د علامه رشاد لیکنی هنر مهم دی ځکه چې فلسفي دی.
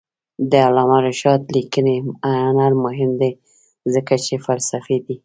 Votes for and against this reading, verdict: 1, 2, rejected